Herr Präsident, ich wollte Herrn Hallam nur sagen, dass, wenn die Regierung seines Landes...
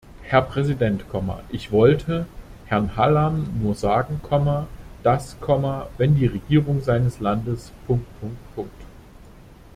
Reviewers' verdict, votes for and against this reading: rejected, 0, 2